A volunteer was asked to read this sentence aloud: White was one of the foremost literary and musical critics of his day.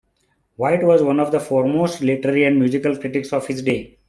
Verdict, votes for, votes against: accepted, 2, 0